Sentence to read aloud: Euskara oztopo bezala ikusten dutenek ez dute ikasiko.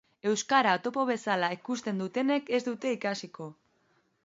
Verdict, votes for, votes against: rejected, 0, 4